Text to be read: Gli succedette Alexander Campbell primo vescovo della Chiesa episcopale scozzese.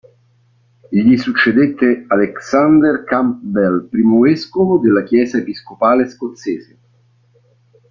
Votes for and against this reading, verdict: 1, 2, rejected